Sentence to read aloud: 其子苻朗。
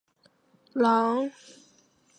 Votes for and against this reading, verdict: 0, 2, rejected